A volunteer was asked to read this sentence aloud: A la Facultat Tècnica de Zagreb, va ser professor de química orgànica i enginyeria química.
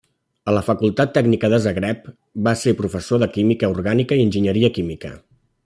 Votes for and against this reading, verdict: 3, 0, accepted